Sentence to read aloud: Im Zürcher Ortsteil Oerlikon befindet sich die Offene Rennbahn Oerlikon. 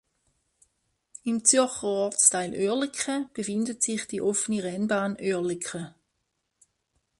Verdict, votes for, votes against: accepted, 2, 0